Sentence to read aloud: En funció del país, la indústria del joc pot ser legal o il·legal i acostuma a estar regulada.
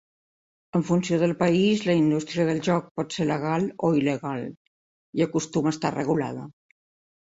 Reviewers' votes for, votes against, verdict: 3, 0, accepted